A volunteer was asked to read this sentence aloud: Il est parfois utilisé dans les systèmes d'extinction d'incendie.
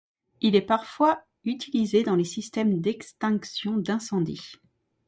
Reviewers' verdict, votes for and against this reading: accepted, 2, 0